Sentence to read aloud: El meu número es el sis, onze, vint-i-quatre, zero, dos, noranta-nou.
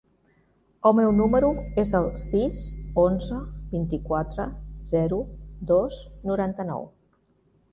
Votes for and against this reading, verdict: 2, 0, accepted